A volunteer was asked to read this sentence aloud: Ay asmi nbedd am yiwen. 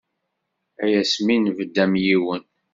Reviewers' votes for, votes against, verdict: 2, 0, accepted